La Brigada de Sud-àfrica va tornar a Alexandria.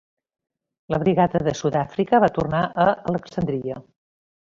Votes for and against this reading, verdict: 3, 0, accepted